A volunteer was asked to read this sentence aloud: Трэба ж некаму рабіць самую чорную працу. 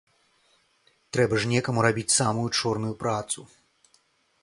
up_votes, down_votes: 2, 0